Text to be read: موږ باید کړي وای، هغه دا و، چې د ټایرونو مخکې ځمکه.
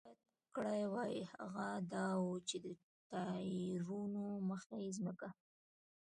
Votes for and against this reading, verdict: 1, 2, rejected